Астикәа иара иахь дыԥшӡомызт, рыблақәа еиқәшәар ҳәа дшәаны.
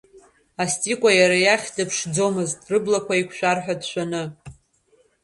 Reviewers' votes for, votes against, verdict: 0, 2, rejected